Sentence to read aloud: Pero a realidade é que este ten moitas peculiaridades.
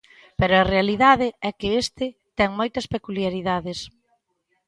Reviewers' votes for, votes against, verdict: 2, 0, accepted